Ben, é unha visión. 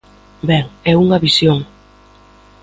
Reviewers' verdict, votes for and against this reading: rejected, 1, 2